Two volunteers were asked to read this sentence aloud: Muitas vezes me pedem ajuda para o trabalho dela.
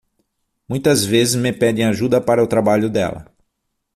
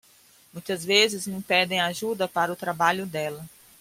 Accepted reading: second